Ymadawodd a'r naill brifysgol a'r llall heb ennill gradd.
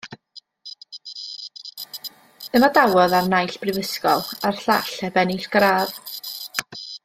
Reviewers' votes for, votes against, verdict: 2, 0, accepted